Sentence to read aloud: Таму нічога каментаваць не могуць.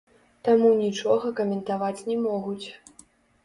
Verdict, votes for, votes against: rejected, 2, 3